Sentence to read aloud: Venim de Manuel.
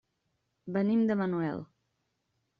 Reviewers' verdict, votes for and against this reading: rejected, 0, 2